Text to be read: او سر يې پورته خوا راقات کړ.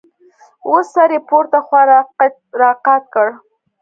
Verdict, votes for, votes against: accepted, 2, 0